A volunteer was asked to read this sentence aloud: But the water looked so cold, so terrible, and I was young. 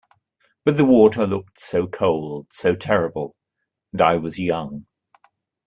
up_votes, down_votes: 2, 0